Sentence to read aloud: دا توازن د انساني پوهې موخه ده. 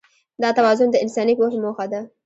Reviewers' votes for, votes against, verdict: 2, 0, accepted